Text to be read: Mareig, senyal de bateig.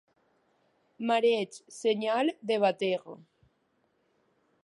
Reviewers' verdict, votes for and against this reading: rejected, 1, 2